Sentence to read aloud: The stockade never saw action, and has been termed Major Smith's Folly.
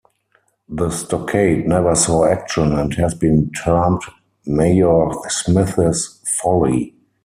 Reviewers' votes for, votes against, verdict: 0, 4, rejected